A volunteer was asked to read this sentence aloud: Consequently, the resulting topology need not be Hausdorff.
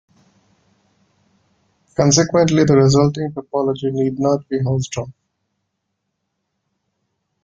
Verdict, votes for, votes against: accepted, 2, 1